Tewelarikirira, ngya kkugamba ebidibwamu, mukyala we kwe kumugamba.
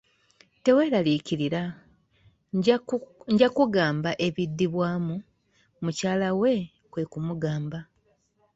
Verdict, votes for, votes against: accepted, 2, 1